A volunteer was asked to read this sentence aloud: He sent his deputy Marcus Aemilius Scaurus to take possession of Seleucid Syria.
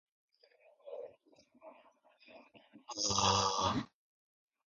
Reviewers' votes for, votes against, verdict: 0, 2, rejected